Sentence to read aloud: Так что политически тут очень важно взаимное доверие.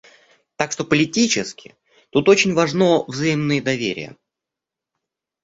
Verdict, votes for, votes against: rejected, 1, 2